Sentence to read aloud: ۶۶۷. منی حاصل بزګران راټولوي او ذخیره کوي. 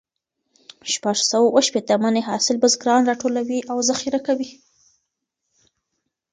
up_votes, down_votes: 0, 2